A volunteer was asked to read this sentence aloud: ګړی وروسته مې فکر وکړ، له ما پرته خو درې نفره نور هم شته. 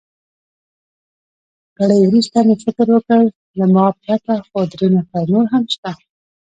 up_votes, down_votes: 1, 2